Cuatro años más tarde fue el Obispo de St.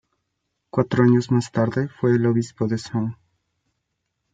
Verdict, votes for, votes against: accepted, 2, 0